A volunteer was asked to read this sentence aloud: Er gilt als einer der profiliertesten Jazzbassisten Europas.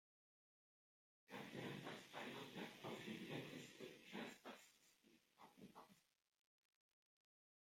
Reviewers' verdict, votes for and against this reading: rejected, 1, 2